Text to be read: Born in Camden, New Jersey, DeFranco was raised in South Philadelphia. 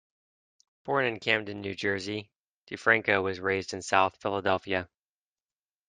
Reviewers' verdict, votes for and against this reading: accepted, 2, 0